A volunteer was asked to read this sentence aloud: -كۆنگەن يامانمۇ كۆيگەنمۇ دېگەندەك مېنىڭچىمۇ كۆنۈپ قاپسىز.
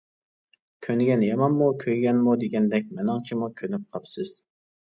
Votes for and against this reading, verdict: 2, 0, accepted